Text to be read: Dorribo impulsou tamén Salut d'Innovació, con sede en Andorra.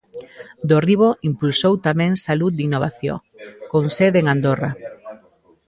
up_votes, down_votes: 1, 2